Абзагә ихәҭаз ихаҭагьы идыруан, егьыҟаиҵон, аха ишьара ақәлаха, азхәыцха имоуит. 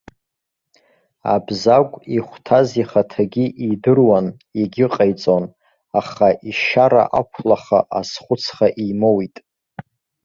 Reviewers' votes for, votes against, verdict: 2, 0, accepted